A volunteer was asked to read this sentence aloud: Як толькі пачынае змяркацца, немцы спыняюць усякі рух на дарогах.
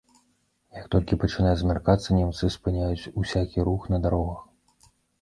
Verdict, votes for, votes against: rejected, 0, 2